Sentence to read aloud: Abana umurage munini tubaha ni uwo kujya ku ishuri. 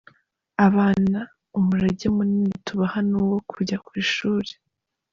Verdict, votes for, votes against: accepted, 2, 0